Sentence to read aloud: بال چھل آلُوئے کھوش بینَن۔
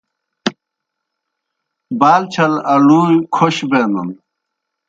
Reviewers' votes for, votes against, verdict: 0, 2, rejected